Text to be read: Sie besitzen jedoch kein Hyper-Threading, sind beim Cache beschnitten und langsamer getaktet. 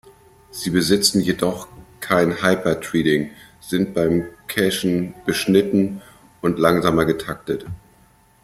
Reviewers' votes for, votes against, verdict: 0, 2, rejected